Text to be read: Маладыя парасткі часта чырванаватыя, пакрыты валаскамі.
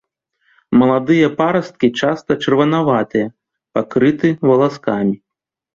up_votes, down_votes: 2, 0